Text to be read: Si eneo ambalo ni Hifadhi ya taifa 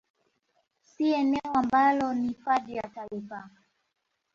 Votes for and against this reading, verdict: 1, 2, rejected